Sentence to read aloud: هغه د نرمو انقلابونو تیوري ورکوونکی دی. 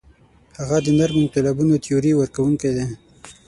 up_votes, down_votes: 3, 6